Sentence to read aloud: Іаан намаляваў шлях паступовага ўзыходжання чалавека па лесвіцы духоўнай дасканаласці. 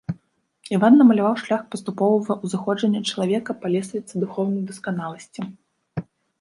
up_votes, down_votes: 1, 2